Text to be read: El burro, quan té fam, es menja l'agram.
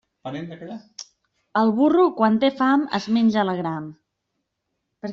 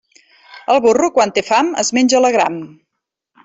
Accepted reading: second